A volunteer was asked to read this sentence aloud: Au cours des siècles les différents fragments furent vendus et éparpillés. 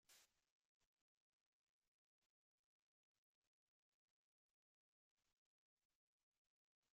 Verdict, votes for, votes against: rejected, 0, 2